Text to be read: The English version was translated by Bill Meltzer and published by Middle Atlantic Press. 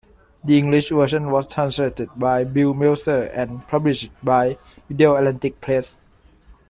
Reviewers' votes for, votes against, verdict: 0, 2, rejected